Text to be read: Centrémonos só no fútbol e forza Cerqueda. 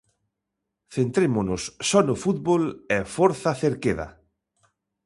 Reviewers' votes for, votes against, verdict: 2, 0, accepted